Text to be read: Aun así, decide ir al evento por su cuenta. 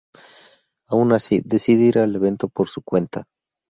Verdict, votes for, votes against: accepted, 4, 0